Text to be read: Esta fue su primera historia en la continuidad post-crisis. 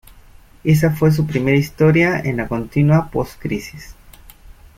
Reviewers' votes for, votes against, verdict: 0, 2, rejected